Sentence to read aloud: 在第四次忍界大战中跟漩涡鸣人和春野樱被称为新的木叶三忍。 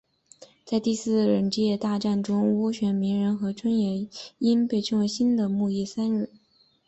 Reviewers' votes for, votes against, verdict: 3, 1, accepted